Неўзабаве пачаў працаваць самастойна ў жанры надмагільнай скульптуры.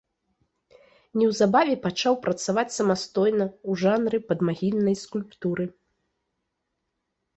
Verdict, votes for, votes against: rejected, 1, 2